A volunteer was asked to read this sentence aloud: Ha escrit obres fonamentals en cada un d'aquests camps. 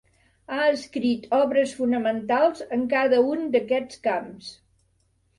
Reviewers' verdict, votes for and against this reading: accepted, 3, 0